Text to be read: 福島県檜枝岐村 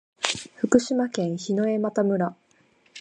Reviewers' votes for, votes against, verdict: 2, 0, accepted